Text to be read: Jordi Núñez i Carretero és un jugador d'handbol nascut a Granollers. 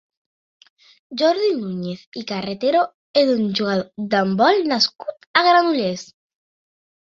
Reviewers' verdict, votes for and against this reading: accepted, 4, 0